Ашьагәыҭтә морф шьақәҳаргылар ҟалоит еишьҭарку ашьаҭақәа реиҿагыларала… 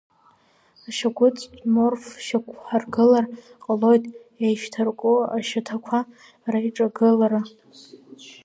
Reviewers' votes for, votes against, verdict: 1, 4, rejected